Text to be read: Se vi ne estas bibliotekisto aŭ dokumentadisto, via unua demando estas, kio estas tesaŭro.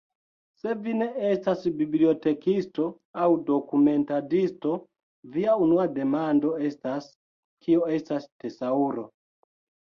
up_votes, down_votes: 2, 0